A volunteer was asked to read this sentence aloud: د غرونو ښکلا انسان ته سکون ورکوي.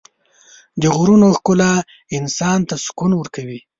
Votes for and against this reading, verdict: 3, 0, accepted